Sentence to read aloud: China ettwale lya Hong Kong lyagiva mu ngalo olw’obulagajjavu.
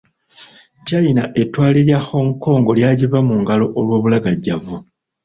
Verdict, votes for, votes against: accepted, 3, 0